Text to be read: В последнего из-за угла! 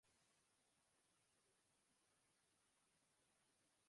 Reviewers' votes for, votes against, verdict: 0, 2, rejected